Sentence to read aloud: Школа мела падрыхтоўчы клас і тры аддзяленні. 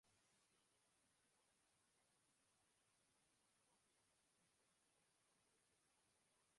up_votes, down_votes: 0, 2